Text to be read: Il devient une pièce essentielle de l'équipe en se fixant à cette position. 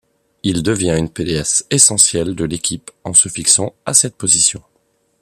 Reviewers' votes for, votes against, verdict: 1, 2, rejected